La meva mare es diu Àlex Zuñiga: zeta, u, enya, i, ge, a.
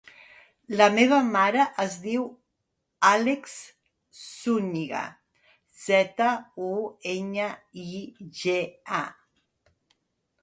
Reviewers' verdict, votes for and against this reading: accepted, 2, 1